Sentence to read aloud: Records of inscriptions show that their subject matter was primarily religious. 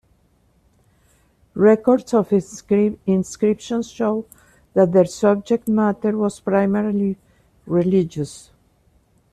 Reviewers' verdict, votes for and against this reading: rejected, 1, 2